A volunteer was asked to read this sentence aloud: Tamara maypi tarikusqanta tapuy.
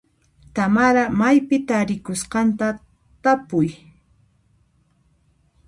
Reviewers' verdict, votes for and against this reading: accepted, 2, 1